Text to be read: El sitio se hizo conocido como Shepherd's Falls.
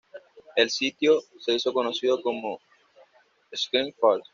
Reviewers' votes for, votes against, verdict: 2, 0, accepted